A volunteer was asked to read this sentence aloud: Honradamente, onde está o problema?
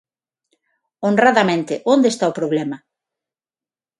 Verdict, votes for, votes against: accepted, 6, 0